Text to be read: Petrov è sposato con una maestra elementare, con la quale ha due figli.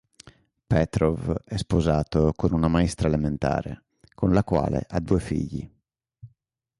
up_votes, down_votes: 2, 0